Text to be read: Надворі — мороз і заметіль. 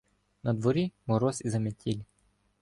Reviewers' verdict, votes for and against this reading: rejected, 0, 2